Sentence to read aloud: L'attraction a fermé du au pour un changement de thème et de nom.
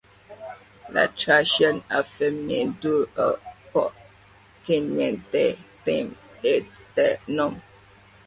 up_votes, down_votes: 1, 2